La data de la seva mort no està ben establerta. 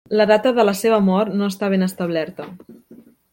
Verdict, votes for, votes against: accepted, 3, 0